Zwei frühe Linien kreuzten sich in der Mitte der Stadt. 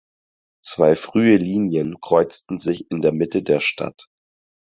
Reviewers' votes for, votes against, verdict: 4, 0, accepted